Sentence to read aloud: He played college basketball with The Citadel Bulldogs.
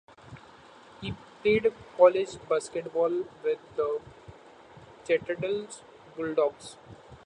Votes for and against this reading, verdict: 2, 1, accepted